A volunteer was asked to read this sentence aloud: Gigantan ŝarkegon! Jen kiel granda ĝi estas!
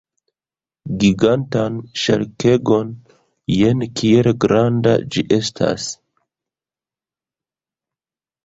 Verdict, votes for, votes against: rejected, 0, 2